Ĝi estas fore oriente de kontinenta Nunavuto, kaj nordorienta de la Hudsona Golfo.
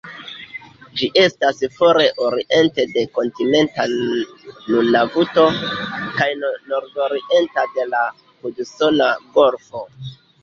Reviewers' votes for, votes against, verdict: 0, 2, rejected